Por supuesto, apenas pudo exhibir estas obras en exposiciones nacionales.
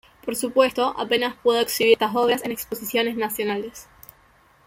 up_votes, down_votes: 2, 0